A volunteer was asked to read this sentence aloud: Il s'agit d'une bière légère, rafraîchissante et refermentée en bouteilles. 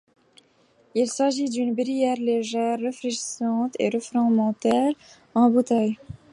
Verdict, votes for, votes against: rejected, 1, 2